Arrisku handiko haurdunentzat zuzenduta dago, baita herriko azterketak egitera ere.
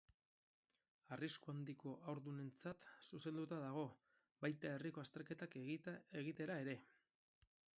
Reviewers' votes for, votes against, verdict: 0, 4, rejected